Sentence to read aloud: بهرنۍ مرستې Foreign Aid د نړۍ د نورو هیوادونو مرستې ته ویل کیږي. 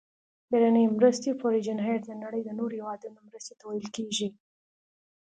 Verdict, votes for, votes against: accepted, 2, 0